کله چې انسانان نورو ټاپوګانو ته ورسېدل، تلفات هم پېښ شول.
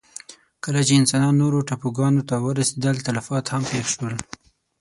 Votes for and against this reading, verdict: 6, 0, accepted